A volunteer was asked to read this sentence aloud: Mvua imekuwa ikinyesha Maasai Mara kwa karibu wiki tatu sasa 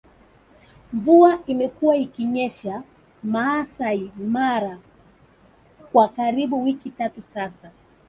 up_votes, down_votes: 1, 2